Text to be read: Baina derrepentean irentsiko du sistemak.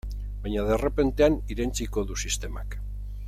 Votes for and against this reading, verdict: 2, 0, accepted